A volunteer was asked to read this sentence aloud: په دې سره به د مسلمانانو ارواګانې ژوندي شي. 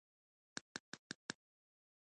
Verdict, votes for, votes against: rejected, 1, 2